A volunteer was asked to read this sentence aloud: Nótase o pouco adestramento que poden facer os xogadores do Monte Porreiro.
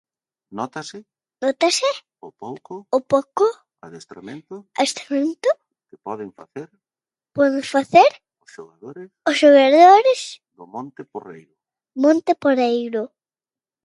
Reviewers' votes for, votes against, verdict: 0, 2, rejected